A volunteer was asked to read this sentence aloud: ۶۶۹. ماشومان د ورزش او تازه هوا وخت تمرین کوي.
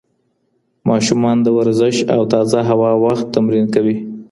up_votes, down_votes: 0, 2